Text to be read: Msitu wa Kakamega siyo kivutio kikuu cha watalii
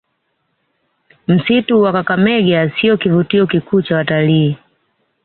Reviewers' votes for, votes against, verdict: 2, 0, accepted